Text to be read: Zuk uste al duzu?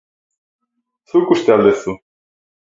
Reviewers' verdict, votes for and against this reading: accepted, 4, 0